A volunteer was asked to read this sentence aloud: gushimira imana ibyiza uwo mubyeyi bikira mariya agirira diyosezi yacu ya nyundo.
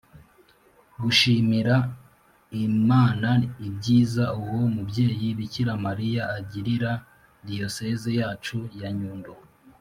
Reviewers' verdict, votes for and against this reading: accepted, 2, 0